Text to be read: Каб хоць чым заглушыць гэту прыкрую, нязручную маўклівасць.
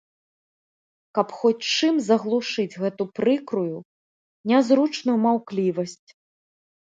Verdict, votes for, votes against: accepted, 2, 0